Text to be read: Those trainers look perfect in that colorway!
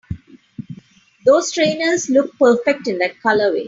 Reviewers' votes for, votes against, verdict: 3, 0, accepted